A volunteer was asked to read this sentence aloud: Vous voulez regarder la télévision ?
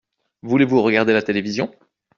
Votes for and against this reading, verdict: 0, 2, rejected